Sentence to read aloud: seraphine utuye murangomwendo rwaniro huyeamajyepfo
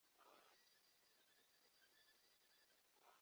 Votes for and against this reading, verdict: 1, 3, rejected